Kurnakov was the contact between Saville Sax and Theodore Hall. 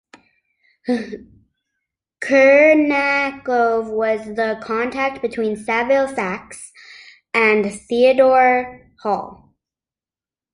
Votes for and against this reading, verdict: 1, 2, rejected